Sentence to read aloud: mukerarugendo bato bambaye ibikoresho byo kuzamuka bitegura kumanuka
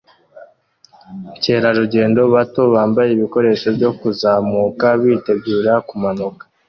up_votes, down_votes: 2, 0